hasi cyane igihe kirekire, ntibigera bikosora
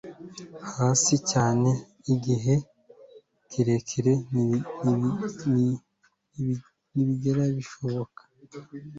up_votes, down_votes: 0, 2